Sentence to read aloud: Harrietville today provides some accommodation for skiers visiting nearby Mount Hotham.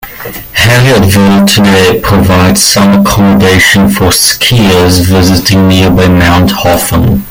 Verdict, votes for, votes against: rejected, 0, 2